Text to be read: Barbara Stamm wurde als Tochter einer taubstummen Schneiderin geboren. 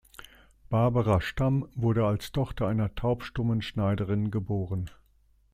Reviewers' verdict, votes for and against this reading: accepted, 2, 0